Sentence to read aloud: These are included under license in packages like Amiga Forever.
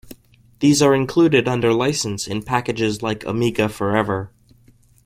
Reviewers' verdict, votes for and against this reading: accepted, 2, 0